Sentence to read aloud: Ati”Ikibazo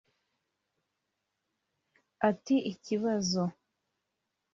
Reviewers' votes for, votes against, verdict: 3, 0, accepted